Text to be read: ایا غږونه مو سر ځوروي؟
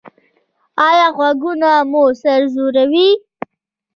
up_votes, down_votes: 2, 1